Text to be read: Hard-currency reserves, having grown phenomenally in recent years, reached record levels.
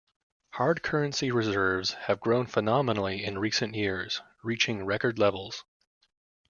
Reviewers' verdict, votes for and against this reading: rejected, 1, 2